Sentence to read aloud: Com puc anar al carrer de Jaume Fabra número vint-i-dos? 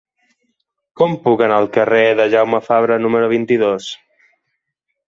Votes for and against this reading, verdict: 3, 0, accepted